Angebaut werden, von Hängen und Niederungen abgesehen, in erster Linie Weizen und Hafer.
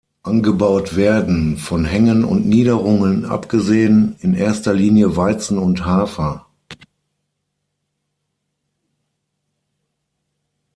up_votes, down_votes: 6, 0